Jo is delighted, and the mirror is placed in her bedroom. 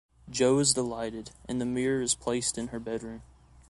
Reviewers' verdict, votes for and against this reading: accepted, 2, 0